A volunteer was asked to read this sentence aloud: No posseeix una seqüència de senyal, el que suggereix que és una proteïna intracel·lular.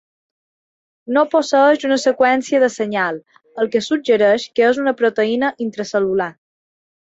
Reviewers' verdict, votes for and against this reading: accepted, 2, 0